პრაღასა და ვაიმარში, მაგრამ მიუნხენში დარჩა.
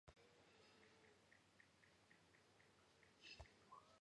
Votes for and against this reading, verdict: 1, 2, rejected